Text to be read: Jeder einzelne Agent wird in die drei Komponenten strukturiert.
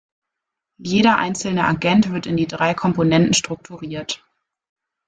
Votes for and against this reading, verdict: 2, 0, accepted